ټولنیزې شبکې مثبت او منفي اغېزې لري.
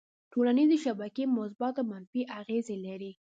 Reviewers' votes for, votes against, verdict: 2, 0, accepted